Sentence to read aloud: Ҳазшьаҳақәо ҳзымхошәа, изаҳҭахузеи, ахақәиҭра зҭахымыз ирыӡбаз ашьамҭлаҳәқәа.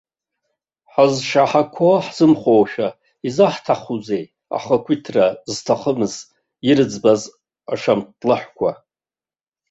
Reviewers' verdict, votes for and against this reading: rejected, 1, 2